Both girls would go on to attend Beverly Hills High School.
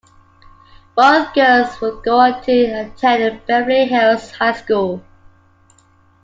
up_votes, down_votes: 2, 0